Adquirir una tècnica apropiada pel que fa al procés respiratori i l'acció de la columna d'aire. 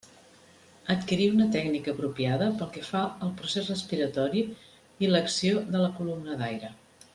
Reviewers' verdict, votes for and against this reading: accepted, 3, 0